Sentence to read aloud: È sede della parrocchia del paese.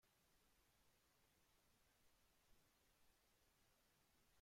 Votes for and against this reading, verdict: 0, 2, rejected